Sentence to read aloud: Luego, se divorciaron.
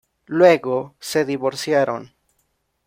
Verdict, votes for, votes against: accepted, 2, 0